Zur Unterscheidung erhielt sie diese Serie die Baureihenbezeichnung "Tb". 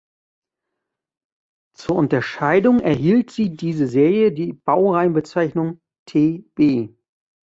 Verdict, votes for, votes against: accepted, 2, 0